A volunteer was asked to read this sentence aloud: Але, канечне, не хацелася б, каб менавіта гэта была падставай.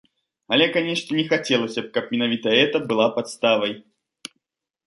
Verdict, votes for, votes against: rejected, 1, 2